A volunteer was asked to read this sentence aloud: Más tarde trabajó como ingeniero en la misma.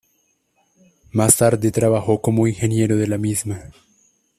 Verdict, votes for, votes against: rejected, 1, 2